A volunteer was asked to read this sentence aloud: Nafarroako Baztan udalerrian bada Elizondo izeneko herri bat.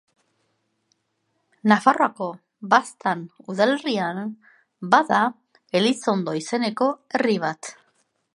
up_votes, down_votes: 2, 0